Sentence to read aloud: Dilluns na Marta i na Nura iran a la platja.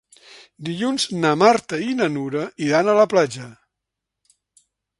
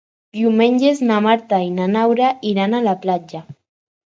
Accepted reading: first